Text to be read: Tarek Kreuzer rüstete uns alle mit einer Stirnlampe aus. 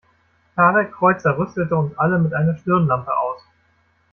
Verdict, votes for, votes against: rejected, 0, 2